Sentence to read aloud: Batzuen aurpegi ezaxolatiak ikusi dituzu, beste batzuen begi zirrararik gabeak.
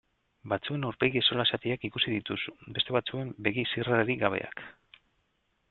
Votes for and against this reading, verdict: 1, 2, rejected